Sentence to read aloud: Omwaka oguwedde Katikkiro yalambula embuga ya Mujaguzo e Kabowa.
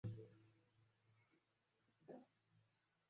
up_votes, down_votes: 0, 2